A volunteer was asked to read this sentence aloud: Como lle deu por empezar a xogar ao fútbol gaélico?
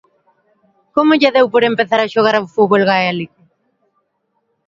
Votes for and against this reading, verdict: 2, 0, accepted